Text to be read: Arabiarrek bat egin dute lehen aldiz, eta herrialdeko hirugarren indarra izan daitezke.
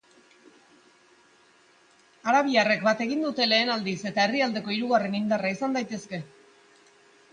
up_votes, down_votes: 2, 0